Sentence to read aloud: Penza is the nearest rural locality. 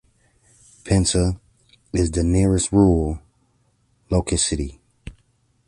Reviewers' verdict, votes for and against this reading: rejected, 1, 2